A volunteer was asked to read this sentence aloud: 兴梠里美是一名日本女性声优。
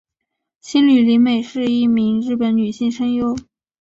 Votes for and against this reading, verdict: 3, 0, accepted